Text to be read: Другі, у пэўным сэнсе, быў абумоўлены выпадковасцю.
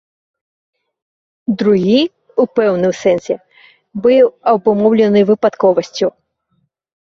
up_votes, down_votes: 3, 0